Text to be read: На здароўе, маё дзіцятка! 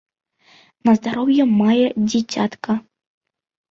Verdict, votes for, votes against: rejected, 1, 2